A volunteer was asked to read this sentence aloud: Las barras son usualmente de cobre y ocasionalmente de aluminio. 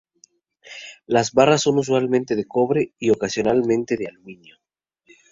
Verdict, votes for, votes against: rejected, 2, 2